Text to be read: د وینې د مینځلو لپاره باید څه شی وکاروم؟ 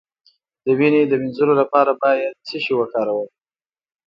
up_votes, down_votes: 2, 0